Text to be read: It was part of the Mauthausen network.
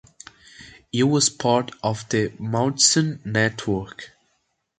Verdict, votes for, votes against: accepted, 2, 1